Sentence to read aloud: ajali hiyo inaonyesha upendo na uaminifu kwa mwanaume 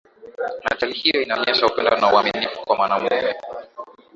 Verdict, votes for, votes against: accepted, 9, 5